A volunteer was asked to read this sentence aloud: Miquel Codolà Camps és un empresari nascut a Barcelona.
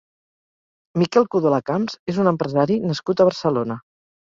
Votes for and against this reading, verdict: 4, 0, accepted